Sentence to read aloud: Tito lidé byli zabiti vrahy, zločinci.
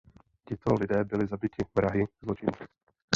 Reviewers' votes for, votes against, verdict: 1, 2, rejected